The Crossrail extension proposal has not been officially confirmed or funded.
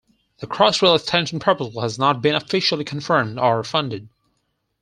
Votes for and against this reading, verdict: 4, 2, accepted